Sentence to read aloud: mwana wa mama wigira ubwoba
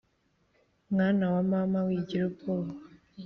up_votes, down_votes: 3, 1